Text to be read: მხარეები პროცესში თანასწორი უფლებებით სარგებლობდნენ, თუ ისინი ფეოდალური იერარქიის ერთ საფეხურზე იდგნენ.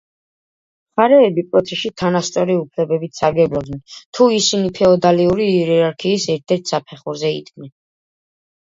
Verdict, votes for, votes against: accepted, 2, 0